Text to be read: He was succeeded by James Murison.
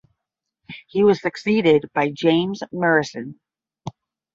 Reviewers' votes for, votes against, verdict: 10, 0, accepted